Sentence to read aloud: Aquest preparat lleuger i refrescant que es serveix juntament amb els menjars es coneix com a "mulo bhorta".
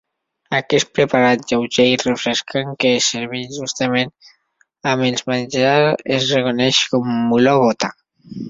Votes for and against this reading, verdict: 0, 2, rejected